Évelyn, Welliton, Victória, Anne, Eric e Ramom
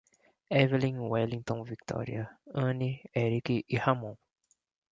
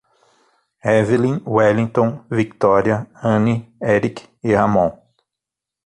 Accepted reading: first